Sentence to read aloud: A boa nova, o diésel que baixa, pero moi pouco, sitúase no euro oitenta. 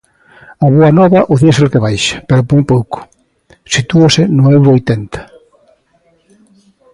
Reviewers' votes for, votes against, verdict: 0, 2, rejected